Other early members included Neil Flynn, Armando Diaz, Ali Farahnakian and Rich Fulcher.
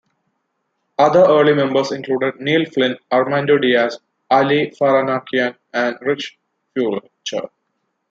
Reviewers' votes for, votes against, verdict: 1, 2, rejected